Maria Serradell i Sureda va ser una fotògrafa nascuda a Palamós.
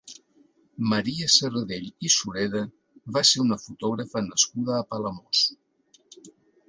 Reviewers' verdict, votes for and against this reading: accepted, 2, 1